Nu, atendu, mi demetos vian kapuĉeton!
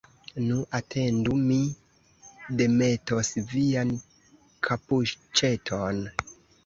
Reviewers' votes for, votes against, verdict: 1, 2, rejected